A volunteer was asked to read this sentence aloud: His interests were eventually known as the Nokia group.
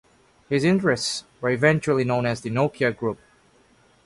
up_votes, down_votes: 2, 0